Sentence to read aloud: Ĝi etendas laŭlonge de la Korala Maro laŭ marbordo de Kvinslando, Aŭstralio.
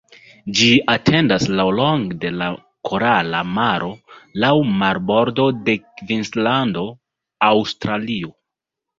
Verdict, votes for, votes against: rejected, 0, 2